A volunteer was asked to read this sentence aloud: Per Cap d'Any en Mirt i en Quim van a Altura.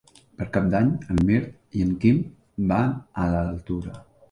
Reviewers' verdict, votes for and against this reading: rejected, 0, 2